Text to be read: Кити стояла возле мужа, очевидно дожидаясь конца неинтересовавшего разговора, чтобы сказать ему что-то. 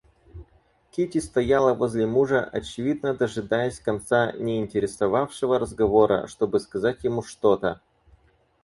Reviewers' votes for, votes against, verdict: 4, 0, accepted